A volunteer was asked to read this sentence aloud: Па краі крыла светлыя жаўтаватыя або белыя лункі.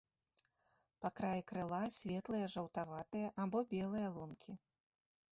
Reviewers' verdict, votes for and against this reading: accepted, 2, 0